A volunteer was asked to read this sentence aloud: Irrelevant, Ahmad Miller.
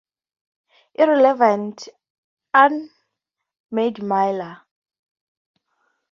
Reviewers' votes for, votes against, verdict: 2, 0, accepted